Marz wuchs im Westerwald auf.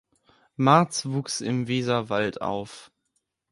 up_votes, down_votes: 0, 2